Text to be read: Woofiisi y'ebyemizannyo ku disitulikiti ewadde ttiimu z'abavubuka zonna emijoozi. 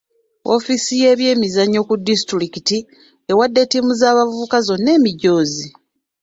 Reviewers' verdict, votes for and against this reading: accepted, 2, 0